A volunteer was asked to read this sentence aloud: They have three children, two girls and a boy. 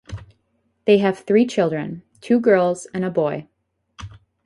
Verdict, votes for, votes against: rejected, 0, 2